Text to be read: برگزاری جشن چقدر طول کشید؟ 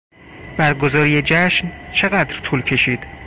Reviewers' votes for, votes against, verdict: 4, 0, accepted